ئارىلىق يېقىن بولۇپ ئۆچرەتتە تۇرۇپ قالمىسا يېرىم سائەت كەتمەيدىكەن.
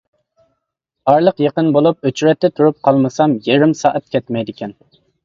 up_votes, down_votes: 1, 2